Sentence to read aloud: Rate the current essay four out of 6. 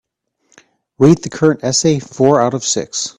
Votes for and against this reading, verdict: 0, 2, rejected